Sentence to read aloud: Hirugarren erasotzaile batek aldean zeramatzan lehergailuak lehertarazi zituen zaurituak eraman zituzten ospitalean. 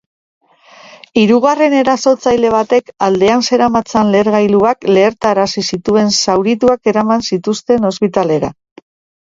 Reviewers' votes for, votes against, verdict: 2, 1, accepted